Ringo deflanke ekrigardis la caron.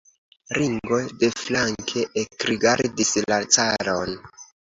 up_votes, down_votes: 2, 1